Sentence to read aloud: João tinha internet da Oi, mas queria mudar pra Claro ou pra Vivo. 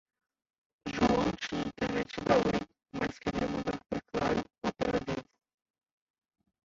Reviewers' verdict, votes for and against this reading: rejected, 0, 2